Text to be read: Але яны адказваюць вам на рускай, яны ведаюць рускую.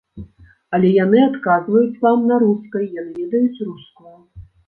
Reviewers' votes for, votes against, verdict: 0, 2, rejected